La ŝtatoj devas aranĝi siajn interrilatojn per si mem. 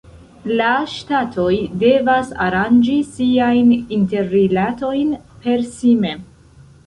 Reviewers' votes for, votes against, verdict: 2, 0, accepted